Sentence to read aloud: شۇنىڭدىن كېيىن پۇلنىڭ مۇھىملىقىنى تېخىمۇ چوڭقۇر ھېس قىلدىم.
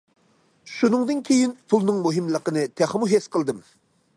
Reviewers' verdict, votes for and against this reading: rejected, 0, 2